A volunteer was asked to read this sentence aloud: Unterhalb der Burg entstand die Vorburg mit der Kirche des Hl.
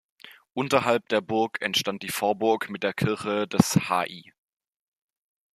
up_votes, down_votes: 0, 2